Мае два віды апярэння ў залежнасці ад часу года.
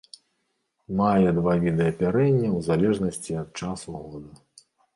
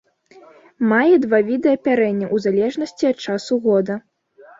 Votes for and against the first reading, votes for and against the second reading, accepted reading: 0, 2, 2, 1, second